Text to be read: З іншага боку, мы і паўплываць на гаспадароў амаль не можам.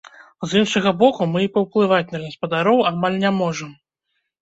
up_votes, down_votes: 1, 2